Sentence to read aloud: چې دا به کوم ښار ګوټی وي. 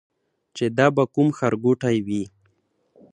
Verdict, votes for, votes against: accepted, 2, 0